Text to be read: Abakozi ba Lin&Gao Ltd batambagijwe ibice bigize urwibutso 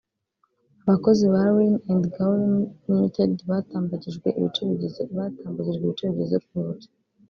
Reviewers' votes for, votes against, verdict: 0, 2, rejected